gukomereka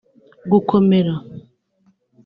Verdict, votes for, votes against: rejected, 1, 2